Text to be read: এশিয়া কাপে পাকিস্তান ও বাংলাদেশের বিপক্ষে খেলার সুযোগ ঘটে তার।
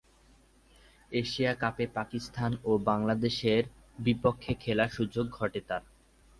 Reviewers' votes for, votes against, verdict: 3, 0, accepted